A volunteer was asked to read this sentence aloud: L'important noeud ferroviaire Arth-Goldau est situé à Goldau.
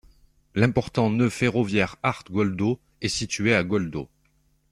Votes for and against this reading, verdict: 2, 0, accepted